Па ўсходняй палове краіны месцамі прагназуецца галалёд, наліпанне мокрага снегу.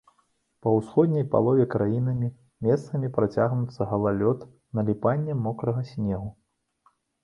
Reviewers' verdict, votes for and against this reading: rejected, 0, 2